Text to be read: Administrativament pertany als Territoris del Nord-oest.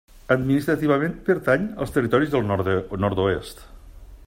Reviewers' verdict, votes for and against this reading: rejected, 0, 2